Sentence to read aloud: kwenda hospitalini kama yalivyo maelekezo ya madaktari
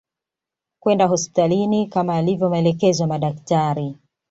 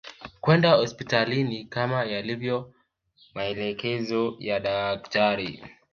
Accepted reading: first